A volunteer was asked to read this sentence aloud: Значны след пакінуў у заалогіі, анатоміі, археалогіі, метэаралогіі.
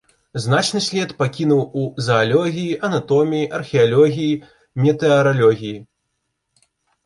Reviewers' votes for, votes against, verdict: 1, 2, rejected